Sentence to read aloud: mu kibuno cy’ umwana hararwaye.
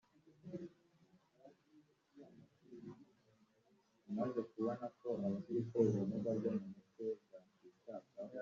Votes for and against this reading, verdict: 1, 3, rejected